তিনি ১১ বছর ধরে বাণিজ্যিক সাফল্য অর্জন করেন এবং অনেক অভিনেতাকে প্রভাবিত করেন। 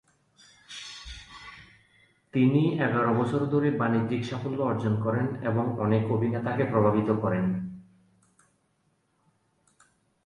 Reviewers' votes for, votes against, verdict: 0, 2, rejected